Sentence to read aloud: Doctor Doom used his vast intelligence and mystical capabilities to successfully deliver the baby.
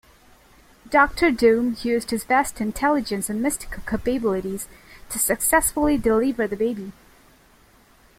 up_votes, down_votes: 0, 2